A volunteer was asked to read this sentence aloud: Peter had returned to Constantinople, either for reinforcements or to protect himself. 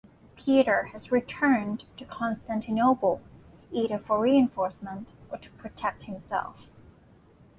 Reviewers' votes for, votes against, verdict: 2, 1, accepted